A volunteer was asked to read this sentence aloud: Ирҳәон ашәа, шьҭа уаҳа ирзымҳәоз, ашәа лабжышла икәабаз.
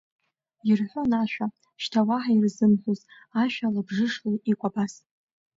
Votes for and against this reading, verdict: 1, 2, rejected